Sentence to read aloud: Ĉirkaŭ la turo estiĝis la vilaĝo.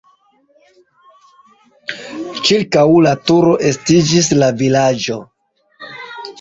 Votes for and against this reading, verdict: 0, 2, rejected